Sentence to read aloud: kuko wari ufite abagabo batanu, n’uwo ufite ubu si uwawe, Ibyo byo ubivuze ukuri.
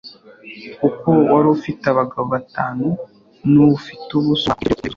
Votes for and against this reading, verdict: 0, 2, rejected